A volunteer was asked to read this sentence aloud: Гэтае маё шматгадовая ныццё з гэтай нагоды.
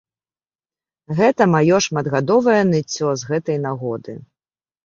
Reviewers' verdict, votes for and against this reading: rejected, 1, 2